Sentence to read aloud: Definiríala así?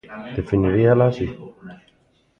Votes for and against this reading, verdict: 0, 2, rejected